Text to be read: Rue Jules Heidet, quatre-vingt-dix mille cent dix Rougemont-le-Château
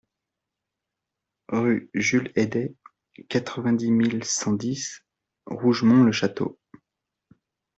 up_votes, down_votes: 2, 0